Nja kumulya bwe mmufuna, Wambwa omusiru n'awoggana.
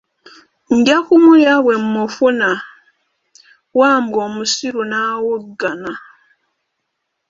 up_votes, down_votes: 0, 2